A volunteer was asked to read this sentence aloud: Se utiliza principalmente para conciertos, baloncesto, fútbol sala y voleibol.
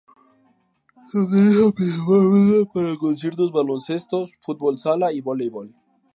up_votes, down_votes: 0, 4